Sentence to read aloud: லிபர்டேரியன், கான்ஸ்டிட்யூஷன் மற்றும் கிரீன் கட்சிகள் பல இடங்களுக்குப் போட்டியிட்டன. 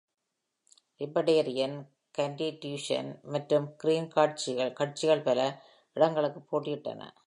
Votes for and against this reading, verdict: 1, 2, rejected